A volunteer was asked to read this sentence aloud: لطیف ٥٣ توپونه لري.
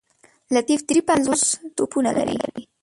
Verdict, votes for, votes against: rejected, 0, 2